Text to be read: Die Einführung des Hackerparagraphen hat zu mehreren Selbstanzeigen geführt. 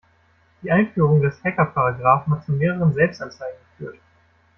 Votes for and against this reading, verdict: 0, 2, rejected